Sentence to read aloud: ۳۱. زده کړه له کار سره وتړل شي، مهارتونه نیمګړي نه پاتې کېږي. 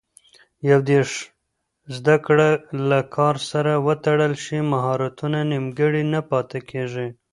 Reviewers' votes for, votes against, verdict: 0, 2, rejected